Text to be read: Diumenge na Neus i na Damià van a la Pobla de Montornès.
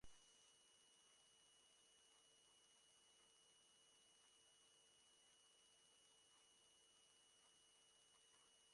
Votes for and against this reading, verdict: 0, 3, rejected